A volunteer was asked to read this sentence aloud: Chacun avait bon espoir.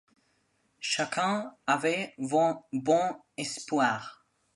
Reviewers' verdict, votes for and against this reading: rejected, 1, 2